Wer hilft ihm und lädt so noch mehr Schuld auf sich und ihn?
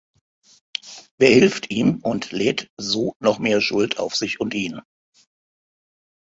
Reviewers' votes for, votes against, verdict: 1, 2, rejected